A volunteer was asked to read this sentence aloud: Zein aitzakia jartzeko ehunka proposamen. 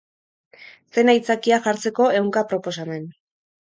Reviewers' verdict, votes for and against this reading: accepted, 4, 0